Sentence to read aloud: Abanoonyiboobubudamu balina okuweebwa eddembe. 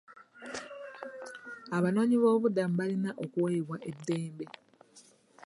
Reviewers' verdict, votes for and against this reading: accepted, 2, 0